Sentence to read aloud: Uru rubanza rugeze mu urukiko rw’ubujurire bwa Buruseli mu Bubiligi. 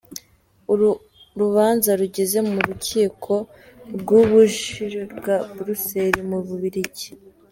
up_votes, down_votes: 3, 4